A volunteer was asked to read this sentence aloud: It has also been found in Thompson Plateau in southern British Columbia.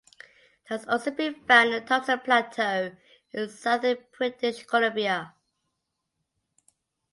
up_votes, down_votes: 2, 1